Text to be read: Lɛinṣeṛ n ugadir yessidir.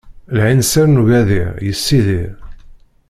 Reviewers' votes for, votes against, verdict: 1, 2, rejected